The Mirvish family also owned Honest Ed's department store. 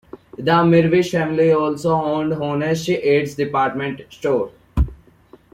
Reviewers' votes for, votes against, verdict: 3, 0, accepted